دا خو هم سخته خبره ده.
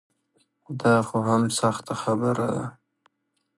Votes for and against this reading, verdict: 0, 2, rejected